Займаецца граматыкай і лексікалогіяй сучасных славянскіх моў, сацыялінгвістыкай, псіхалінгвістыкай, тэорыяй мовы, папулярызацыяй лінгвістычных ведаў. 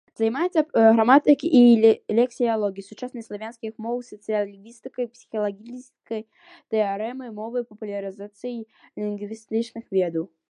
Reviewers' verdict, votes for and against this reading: rejected, 0, 2